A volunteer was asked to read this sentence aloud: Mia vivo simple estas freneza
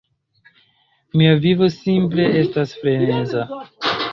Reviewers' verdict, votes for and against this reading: accepted, 2, 1